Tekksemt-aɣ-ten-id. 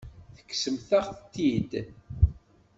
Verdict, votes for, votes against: rejected, 1, 2